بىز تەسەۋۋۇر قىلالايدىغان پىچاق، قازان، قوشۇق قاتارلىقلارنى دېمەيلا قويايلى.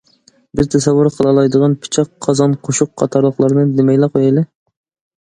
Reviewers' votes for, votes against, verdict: 2, 0, accepted